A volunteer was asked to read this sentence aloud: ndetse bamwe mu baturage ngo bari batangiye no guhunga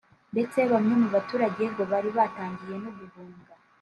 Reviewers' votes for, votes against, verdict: 3, 0, accepted